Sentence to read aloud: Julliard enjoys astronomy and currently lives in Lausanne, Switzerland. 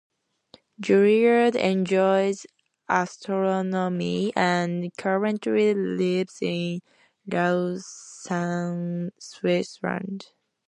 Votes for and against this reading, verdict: 2, 1, accepted